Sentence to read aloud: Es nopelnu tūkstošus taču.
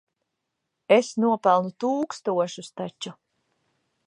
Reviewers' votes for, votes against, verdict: 3, 0, accepted